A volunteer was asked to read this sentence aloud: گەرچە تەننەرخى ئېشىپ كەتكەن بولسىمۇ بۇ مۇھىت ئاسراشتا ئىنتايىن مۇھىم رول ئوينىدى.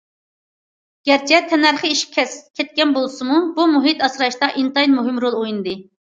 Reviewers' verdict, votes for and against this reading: rejected, 0, 2